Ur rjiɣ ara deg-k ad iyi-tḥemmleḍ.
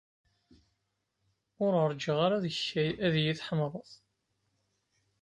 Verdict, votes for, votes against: accepted, 2, 0